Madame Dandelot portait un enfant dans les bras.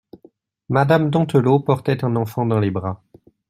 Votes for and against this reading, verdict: 1, 2, rejected